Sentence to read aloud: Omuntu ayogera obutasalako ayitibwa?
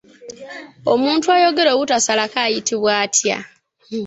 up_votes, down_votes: 1, 2